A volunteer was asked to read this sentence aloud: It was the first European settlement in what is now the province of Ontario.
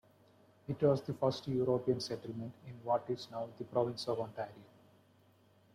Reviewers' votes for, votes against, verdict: 2, 0, accepted